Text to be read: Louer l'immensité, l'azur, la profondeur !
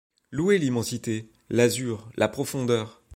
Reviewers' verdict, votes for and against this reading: accepted, 2, 0